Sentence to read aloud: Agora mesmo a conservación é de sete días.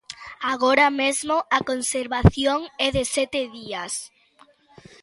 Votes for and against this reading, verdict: 2, 0, accepted